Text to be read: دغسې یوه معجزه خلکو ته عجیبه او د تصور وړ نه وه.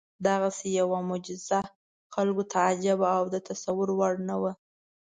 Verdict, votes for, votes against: accepted, 2, 0